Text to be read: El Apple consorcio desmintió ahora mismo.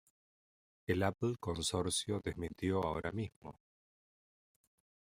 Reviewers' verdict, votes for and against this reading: accepted, 2, 0